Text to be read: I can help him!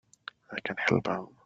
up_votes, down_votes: 0, 2